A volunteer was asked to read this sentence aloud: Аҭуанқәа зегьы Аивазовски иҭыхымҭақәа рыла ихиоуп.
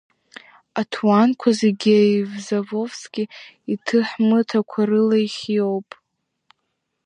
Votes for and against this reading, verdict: 0, 2, rejected